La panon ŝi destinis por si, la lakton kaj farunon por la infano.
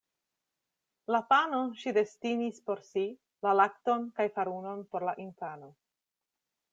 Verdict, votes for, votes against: accepted, 2, 0